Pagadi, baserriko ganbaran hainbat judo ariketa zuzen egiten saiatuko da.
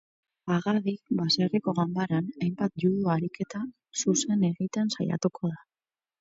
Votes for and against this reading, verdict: 4, 0, accepted